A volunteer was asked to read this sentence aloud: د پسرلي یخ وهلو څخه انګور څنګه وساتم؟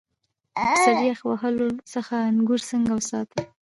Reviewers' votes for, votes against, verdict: 1, 2, rejected